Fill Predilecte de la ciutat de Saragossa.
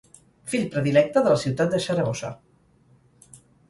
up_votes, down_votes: 2, 4